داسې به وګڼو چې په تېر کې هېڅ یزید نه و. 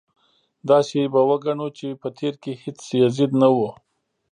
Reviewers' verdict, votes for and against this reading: accepted, 2, 0